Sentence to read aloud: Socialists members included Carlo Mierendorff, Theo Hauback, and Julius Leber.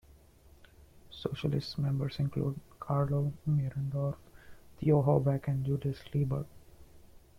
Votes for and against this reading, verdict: 1, 2, rejected